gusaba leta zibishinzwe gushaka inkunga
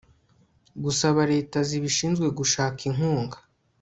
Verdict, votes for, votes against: accepted, 2, 0